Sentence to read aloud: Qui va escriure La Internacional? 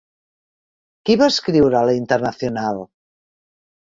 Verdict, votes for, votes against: rejected, 1, 3